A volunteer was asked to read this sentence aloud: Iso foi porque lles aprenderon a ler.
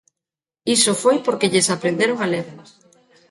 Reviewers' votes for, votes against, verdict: 0, 2, rejected